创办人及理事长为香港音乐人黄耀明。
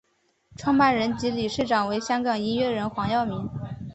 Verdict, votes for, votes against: accepted, 2, 0